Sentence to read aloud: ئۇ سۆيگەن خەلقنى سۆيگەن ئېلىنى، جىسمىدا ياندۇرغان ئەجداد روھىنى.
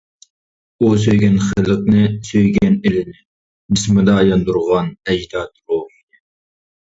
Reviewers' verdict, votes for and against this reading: rejected, 0, 2